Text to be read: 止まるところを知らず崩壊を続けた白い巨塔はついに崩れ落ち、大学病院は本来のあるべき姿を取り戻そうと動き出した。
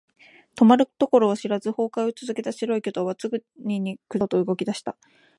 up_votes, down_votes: 0, 2